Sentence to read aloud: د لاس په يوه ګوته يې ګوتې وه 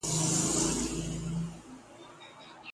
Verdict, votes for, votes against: rejected, 0, 2